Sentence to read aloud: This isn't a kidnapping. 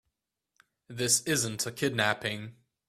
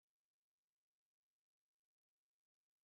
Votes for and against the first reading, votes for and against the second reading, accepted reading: 2, 0, 0, 2, first